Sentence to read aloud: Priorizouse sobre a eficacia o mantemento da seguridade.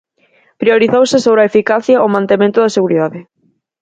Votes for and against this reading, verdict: 4, 0, accepted